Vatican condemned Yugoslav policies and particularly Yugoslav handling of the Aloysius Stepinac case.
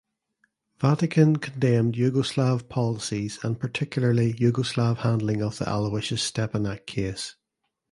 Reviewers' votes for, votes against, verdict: 2, 0, accepted